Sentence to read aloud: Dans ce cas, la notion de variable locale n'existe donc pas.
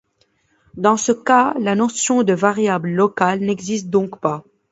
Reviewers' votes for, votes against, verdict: 2, 0, accepted